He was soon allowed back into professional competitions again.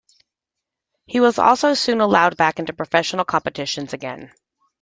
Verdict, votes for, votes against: rejected, 1, 2